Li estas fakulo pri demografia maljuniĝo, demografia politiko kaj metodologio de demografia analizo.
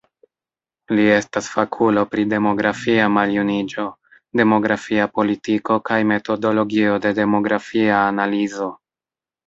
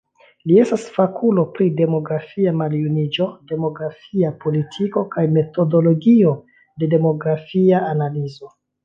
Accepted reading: second